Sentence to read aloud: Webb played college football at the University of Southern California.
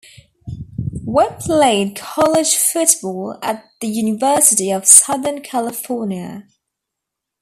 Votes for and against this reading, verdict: 2, 0, accepted